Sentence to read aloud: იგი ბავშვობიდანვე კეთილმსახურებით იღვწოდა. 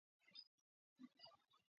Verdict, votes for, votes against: rejected, 0, 2